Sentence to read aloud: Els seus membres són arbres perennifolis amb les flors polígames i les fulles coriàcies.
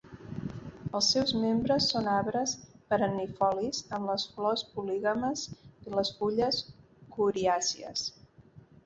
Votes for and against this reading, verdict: 2, 0, accepted